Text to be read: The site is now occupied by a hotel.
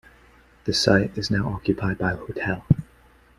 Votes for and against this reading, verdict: 2, 0, accepted